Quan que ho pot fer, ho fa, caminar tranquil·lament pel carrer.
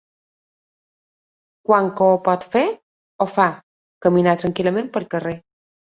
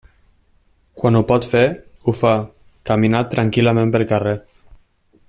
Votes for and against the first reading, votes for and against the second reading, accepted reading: 2, 0, 0, 2, first